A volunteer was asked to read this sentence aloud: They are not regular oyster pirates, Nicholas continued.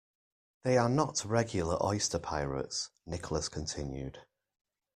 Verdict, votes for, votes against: accepted, 3, 0